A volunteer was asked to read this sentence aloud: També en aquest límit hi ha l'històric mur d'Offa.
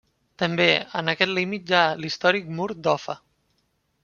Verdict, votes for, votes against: accepted, 2, 0